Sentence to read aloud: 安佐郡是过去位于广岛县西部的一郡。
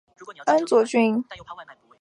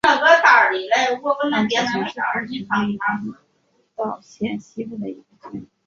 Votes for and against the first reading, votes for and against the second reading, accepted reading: 0, 2, 2, 0, second